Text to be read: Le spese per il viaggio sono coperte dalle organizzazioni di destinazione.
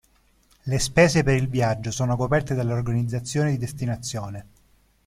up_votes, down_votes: 0, 2